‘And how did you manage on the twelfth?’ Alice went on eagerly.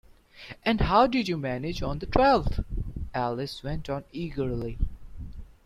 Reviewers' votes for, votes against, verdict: 2, 0, accepted